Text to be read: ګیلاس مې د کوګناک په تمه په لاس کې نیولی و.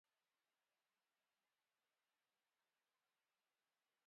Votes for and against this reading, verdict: 0, 2, rejected